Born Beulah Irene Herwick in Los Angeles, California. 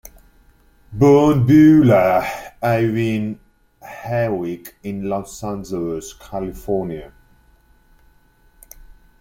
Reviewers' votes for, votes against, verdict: 1, 2, rejected